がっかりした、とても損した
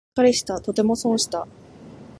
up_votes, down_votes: 2, 0